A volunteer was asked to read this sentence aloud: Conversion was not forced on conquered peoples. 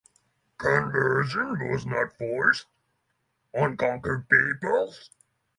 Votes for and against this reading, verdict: 0, 3, rejected